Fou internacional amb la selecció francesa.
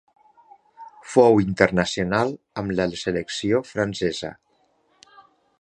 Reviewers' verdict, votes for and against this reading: accepted, 2, 0